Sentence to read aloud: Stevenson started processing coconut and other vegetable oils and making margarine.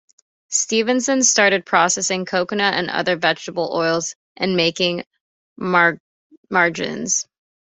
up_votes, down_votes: 0, 2